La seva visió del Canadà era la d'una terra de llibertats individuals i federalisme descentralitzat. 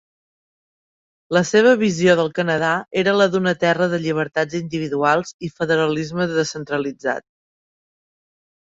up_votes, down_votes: 3, 0